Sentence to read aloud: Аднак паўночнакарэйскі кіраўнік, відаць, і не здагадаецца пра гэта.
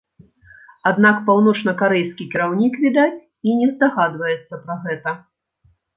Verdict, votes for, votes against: rejected, 0, 2